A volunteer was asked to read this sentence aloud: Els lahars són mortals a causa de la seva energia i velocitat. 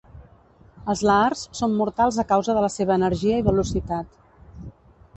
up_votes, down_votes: 2, 0